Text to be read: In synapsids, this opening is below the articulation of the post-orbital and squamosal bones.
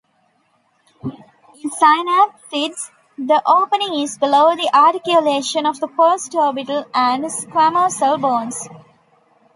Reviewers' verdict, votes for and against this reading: rejected, 0, 3